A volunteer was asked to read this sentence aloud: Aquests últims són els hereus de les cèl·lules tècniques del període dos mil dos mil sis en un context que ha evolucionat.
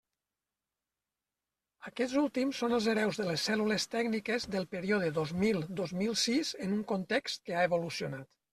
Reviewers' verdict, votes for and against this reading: accepted, 3, 0